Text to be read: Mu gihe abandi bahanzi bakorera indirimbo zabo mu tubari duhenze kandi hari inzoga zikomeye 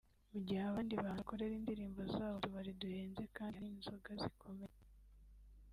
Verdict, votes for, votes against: rejected, 1, 2